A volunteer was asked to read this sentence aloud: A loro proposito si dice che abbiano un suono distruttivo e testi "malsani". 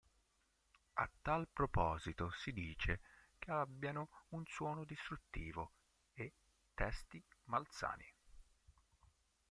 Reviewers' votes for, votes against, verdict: 0, 4, rejected